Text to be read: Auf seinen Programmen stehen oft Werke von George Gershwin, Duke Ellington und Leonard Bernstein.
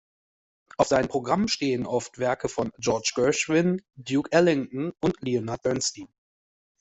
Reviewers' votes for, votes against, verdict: 2, 0, accepted